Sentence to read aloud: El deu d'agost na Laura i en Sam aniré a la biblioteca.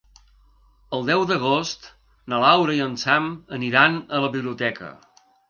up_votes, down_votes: 1, 2